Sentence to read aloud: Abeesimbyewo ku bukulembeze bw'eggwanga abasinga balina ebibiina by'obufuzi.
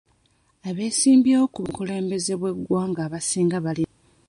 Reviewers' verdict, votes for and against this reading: rejected, 0, 2